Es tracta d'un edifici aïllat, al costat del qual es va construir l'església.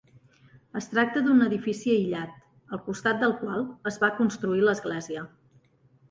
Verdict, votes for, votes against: accepted, 2, 0